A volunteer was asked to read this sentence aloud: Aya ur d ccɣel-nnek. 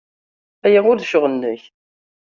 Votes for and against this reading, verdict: 2, 0, accepted